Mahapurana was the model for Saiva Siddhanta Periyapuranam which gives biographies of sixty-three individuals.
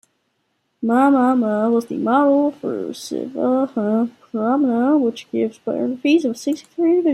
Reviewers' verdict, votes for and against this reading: rejected, 0, 2